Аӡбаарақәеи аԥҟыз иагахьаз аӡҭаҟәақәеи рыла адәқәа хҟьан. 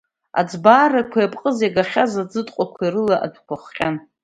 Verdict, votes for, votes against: rejected, 1, 2